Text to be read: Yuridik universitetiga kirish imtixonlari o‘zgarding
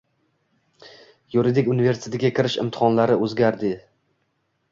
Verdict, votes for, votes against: rejected, 1, 2